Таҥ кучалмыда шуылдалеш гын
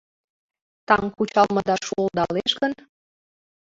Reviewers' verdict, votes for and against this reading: accepted, 2, 0